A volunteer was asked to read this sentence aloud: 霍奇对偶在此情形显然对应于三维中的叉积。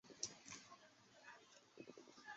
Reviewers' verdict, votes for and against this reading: rejected, 2, 4